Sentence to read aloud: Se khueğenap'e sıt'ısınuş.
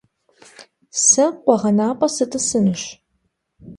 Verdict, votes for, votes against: accepted, 2, 0